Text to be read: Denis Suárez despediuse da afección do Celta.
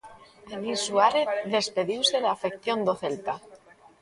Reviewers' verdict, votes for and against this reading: rejected, 1, 2